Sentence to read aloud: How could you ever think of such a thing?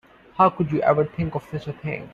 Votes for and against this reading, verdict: 0, 2, rejected